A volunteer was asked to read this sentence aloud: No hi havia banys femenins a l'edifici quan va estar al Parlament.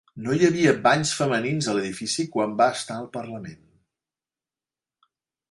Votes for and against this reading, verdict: 0, 2, rejected